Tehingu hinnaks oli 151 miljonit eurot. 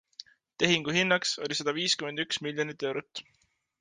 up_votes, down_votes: 0, 2